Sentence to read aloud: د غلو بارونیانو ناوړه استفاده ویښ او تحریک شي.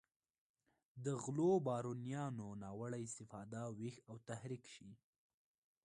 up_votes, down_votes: 2, 0